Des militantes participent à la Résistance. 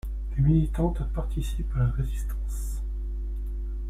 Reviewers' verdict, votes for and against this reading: rejected, 0, 2